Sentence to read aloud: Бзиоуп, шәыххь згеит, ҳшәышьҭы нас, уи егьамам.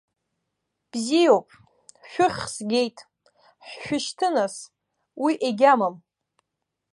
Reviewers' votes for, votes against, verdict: 2, 1, accepted